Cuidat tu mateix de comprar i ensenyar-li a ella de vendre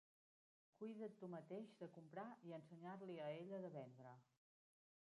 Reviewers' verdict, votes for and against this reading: rejected, 1, 2